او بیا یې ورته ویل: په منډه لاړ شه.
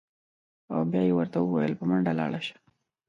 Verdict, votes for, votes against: rejected, 0, 2